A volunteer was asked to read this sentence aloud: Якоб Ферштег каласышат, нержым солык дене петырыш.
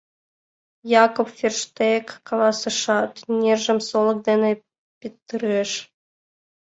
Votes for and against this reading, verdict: 2, 0, accepted